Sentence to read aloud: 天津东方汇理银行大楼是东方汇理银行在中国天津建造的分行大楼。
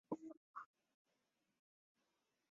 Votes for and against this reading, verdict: 0, 2, rejected